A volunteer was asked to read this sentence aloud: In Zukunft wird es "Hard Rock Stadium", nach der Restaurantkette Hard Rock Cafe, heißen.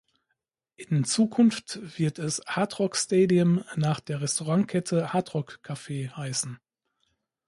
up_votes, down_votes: 1, 2